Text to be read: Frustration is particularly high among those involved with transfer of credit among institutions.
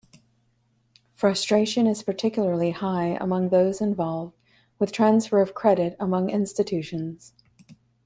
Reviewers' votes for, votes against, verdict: 2, 0, accepted